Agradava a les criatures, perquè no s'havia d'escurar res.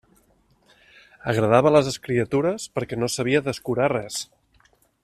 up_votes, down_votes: 0, 2